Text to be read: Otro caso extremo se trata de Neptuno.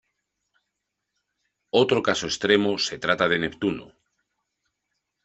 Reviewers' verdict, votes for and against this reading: accepted, 2, 0